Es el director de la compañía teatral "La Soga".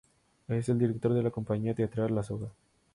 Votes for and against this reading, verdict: 2, 0, accepted